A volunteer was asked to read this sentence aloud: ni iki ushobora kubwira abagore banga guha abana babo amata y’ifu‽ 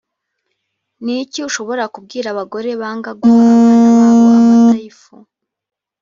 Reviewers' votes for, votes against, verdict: 0, 2, rejected